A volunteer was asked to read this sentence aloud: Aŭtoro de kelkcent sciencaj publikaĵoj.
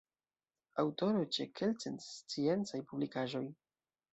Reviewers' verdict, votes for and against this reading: rejected, 0, 2